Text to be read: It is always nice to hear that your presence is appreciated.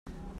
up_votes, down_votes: 0, 2